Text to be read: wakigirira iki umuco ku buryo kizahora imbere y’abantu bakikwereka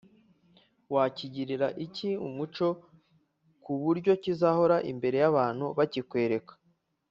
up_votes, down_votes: 3, 0